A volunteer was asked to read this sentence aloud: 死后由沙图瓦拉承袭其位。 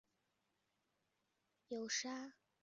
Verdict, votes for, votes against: rejected, 0, 2